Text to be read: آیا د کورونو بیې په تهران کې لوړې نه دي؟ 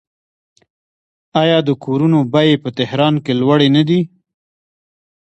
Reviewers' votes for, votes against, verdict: 1, 2, rejected